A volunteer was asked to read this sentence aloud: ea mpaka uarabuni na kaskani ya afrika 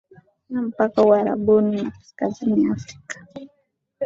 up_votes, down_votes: 2, 3